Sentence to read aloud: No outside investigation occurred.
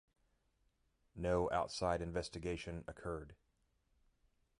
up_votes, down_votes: 2, 0